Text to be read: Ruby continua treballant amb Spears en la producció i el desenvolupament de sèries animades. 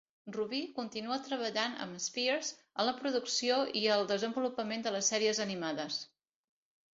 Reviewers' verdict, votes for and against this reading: rejected, 0, 2